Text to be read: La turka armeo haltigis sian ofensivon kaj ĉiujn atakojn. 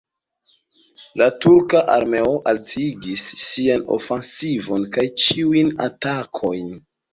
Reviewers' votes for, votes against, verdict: 1, 2, rejected